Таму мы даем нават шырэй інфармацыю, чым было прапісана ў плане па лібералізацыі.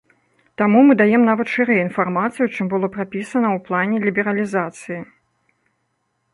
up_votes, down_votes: 1, 2